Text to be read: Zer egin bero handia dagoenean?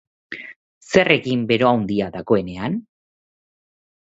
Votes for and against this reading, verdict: 7, 1, accepted